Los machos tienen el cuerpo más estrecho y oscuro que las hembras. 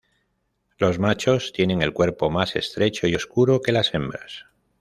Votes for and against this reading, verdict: 2, 0, accepted